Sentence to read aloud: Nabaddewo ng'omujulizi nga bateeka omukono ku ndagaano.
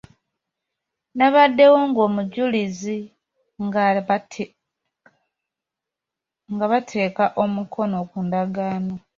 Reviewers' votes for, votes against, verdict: 0, 2, rejected